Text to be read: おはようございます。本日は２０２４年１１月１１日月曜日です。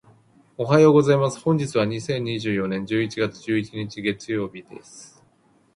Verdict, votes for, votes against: rejected, 0, 2